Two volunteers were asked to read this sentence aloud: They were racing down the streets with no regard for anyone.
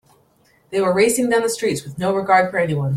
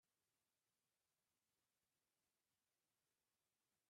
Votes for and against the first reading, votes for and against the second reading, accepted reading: 2, 0, 0, 2, first